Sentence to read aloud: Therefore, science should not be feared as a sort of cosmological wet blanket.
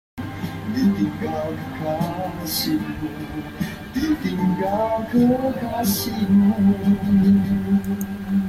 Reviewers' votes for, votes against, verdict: 0, 2, rejected